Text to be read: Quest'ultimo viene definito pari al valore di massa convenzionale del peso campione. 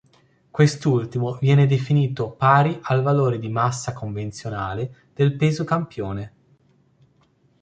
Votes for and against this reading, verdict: 3, 0, accepted